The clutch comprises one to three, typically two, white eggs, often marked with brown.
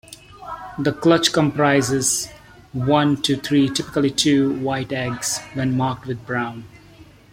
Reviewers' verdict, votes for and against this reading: rejected, 0, 2